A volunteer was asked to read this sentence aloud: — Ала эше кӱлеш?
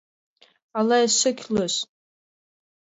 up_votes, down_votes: 2, 0